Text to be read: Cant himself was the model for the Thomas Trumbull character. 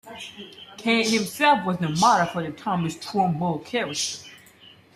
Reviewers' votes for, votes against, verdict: 0, 2, rejected